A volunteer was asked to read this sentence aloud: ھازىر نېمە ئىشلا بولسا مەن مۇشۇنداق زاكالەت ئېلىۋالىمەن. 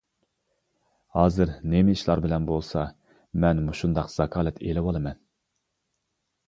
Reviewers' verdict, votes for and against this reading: rejected, 1, 2